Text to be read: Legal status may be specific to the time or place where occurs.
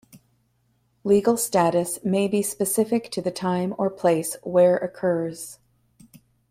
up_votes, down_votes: 2, 0